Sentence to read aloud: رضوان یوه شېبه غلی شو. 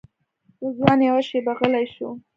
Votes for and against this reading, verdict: 2, 0, accepted